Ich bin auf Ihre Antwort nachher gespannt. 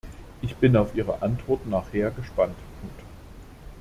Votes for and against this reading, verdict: 0, 2, rejected